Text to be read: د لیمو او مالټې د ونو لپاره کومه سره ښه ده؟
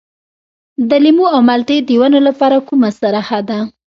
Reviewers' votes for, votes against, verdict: 2, 0, accepted